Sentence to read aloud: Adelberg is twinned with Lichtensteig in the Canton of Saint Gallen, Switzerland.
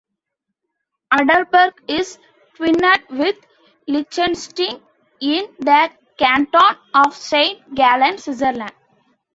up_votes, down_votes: 1, 2